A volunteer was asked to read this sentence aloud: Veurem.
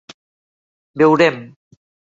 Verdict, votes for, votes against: accepted, 2, 1